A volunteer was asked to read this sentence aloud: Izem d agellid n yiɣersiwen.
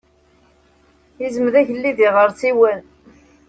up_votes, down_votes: 1, 2